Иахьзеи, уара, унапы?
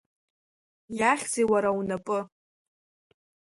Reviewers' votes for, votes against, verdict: 1, 2, rejected